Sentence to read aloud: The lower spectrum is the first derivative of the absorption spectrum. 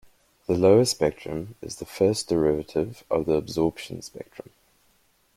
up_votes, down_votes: 2, 0